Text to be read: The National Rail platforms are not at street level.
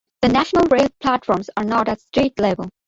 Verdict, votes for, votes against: accepted, 2, 1